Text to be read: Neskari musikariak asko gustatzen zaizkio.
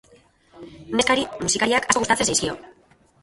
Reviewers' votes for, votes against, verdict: 0, 3, rejected